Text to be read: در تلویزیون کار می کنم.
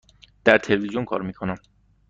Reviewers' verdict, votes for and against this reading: accepted, 2, 0